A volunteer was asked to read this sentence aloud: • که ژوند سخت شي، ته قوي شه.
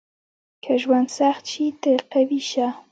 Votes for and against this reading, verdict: 1, 2, rejected